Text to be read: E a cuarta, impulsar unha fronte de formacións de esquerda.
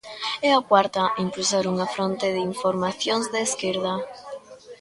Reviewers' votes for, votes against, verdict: 0, 2, rejected